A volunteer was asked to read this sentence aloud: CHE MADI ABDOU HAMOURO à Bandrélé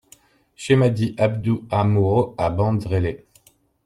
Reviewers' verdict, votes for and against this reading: rejected, 1, 2